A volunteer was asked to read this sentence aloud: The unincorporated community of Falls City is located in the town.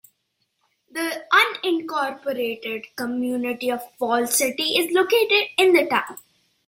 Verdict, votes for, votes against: accepted, 2, 0